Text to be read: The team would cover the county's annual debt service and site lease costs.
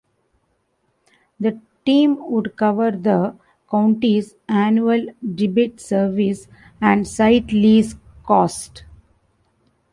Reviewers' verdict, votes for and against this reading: rejected, 0, 3